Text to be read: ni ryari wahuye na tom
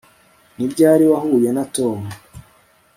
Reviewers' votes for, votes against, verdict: 2, 0, accepted